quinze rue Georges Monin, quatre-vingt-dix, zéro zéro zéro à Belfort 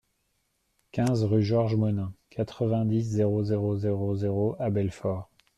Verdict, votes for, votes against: rejected, 1, 2